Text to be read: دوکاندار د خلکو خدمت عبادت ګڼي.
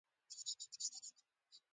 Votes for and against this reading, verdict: 1, 2, rejected